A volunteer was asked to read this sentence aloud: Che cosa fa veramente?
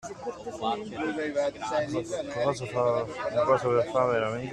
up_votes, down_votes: 0, 2